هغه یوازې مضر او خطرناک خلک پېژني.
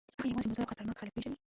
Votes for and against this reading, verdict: 1, 2, rejected